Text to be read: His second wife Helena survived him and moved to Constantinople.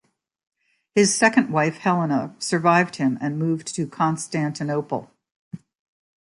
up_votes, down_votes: 2, 0